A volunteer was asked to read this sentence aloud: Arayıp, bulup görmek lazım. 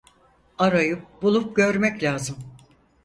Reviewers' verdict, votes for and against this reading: accepted, 4, 0